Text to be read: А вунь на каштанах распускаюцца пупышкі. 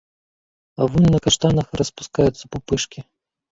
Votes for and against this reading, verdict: 1, 2, rejected